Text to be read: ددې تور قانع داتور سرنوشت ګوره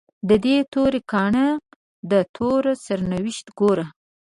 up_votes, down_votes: 0, 2